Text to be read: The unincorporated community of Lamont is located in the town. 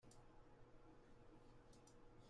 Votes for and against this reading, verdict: 0, 2, rejected